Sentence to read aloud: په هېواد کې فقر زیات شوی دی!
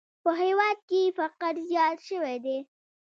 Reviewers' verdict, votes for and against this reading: accepted, 3, 1